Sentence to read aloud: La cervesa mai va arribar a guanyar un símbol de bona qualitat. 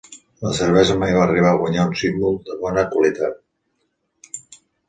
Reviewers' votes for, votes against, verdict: 2, 0, accepted